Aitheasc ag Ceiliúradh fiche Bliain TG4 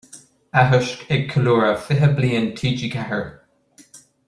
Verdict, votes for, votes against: rejected, 0, 2